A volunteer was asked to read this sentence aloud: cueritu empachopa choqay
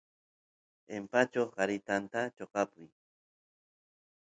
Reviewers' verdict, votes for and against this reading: rejected, 1, 2